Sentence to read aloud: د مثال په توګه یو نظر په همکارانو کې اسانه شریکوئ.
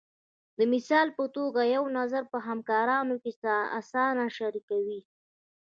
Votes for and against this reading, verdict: 0, 2, rejected